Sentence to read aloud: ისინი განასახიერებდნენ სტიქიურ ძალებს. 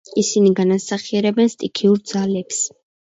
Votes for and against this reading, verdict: 2, 1, accepted